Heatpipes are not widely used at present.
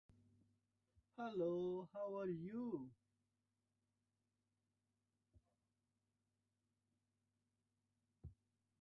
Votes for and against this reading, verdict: 0, 2, rejected